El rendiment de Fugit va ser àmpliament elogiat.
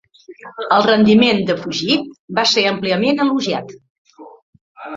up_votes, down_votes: 3, 1